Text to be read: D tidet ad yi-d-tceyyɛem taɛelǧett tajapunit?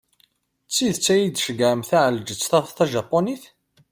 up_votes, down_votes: 1, 2